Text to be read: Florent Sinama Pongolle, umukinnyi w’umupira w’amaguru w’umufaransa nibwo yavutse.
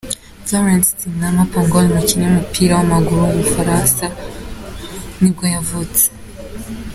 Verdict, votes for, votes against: rejected, 0, 2